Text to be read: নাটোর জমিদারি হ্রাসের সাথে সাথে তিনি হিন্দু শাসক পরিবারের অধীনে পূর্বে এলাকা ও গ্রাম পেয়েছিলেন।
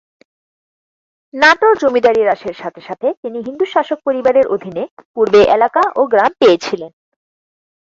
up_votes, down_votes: 4, 2